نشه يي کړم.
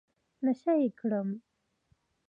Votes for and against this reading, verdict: 2, 1, accepted